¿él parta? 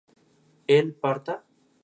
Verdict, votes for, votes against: accepted, 4, 0